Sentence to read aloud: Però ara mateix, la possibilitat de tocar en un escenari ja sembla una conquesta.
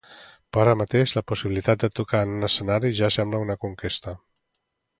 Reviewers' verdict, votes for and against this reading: accepted, 2, 0